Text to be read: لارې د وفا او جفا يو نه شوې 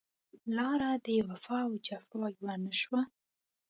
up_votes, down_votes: 1, 2